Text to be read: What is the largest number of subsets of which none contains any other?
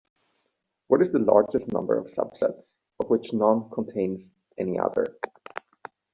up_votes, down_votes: 2, 0